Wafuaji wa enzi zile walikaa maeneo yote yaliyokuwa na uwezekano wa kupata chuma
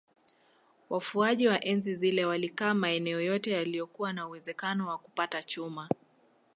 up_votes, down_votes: 2, 0